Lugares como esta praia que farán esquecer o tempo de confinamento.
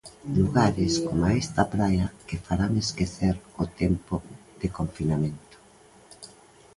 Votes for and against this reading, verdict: 1, 2, rejected